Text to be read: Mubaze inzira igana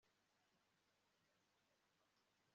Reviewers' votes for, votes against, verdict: 0, 2, rejected